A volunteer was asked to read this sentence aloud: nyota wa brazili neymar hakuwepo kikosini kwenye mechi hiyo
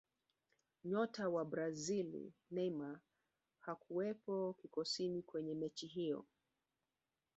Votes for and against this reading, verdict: 2, 0, accepted